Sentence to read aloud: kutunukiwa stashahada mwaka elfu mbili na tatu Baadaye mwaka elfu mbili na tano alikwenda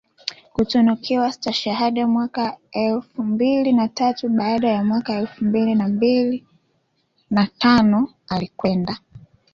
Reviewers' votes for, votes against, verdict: 0, 2, rejected